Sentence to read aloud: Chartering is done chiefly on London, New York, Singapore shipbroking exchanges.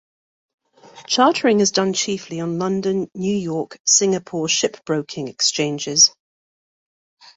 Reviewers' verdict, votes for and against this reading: accepted, 2, 1